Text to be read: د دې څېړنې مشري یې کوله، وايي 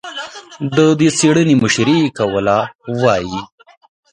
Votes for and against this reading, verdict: 2, 3, rejected